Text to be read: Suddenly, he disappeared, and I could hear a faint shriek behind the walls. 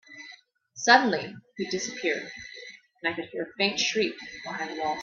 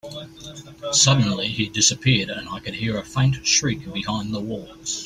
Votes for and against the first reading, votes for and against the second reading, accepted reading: 0, 2, 2, 1, second